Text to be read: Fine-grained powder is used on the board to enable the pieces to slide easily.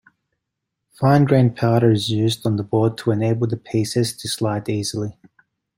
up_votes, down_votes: 1, 2